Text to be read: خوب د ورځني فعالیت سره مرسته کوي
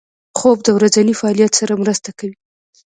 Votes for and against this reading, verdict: 3, 0, accepted